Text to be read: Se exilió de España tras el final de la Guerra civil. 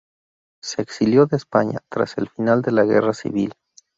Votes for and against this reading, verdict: 2, 0, accepted